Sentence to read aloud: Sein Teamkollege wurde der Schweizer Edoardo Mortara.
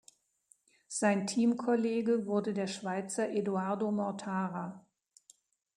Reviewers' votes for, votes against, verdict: 2, 0, accepted